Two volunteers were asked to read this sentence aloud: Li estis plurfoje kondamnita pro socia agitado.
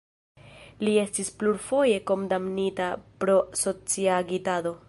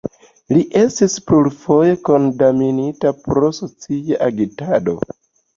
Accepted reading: second